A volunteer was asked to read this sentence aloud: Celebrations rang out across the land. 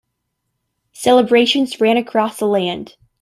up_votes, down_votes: 0, 2